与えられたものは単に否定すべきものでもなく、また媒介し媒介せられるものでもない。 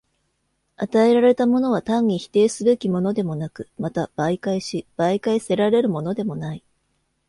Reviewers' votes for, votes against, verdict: 2, 0, accepted